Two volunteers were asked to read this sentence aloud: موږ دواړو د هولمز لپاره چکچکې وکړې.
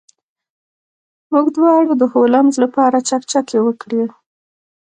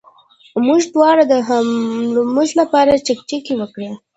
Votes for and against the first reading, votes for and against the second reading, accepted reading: 2, 0, 1, 2, first